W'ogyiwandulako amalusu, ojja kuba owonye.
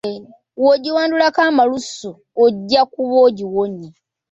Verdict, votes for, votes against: rejected, 0, 2